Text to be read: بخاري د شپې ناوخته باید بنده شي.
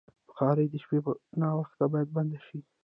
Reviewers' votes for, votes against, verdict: 2, 1, accepted